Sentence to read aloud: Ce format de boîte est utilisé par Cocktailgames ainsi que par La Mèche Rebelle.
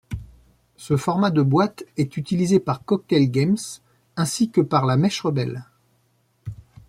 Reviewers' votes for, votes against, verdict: 1, 2, rejected